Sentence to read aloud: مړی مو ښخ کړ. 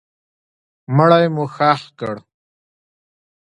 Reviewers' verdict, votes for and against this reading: accepted, 2, 1